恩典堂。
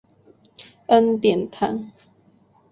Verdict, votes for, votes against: accepted, 2, 0